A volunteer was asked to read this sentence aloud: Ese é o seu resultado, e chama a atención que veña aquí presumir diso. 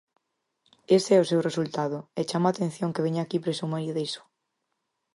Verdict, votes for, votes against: rejected, 0, 4